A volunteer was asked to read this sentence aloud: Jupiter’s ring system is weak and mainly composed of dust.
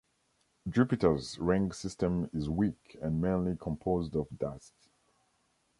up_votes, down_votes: 2, 0